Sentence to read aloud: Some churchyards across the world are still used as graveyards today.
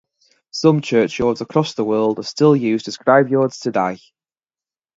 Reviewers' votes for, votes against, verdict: 2, 0, accepted